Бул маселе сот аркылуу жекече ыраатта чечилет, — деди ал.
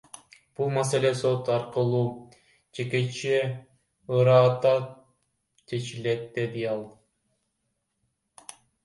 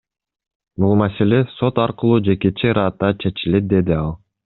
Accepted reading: second